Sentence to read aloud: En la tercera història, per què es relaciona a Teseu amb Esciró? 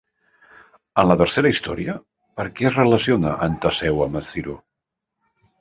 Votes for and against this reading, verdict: 1, 2, rejected